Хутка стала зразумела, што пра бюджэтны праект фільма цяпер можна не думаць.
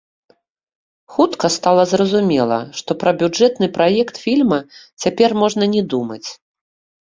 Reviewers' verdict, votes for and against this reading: accepted, 3, 0